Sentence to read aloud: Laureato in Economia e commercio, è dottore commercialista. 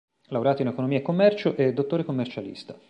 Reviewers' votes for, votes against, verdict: 2, 0, accepted